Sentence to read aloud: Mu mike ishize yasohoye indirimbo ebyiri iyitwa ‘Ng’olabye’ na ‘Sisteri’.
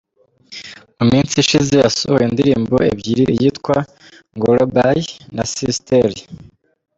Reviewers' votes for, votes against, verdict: 2, 3, rejected